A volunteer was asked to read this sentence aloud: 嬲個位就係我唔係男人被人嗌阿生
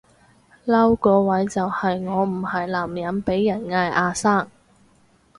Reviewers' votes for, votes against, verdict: 4, 2, accepted